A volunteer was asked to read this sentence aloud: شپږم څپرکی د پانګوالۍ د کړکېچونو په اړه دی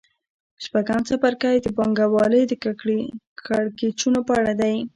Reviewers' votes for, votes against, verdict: 2, 0, accepted